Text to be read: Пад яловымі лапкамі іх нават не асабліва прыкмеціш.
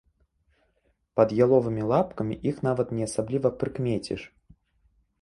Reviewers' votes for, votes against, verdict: 2, 0, accepted